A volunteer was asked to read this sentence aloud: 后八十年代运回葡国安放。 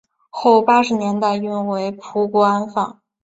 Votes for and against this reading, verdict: 3, 0, accepted